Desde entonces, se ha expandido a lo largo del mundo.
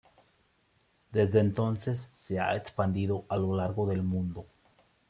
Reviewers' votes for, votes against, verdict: 2, 0, accepted